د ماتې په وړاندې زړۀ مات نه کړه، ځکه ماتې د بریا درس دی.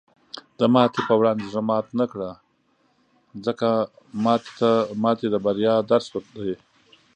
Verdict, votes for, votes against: rejected, 0, 2